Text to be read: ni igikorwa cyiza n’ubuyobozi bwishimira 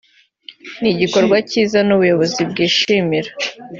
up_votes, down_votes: 2, 0